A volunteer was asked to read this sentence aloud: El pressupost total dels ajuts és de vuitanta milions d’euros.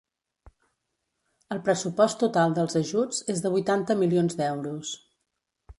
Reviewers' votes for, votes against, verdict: 2, 0, accepted